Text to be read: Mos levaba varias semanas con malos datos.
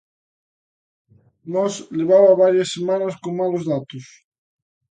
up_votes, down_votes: 2, 0